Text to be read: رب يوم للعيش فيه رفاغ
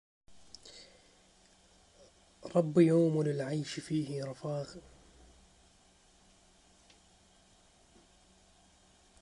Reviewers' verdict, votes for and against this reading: rejected, 0, 2